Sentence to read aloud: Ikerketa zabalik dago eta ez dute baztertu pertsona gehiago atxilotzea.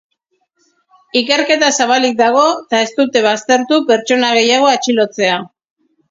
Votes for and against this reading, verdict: 3, 1, accepted